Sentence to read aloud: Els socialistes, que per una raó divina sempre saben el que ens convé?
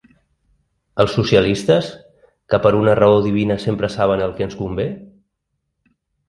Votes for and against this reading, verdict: 2, 0, accepted